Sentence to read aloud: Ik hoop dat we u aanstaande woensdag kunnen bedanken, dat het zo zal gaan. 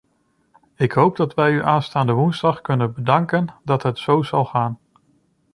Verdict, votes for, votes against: rejected, 1, 2